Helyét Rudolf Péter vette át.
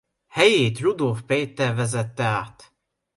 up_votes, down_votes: 0, 2